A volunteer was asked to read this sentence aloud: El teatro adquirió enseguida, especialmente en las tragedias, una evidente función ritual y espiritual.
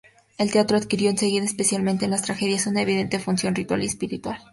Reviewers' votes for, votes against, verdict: 2, 0, accepted